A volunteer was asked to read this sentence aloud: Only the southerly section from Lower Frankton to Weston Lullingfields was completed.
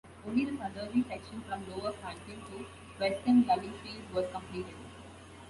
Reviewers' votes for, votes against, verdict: 2, 0, accepted